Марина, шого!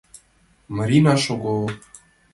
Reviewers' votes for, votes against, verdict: 2, 0, accepted